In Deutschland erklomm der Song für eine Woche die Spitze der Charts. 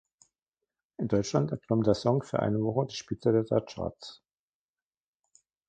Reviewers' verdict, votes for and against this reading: rejected, 0, 2